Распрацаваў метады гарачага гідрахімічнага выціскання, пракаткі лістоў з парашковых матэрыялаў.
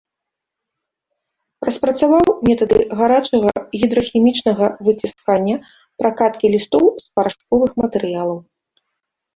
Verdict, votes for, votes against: accepted, 2, 0